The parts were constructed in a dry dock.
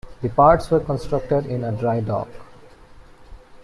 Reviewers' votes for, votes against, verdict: 2, 1, accepted